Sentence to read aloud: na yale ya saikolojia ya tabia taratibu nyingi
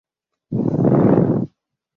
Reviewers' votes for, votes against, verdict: 0, 2, rejected